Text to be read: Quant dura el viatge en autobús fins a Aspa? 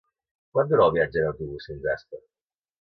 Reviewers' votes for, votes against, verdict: 2, 0, accepted